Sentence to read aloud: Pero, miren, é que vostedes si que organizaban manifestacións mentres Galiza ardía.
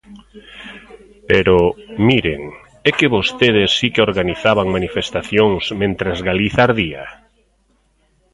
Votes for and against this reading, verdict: 1, 2, rejected